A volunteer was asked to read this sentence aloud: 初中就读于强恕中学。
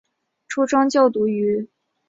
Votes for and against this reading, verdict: 1, 2, rejected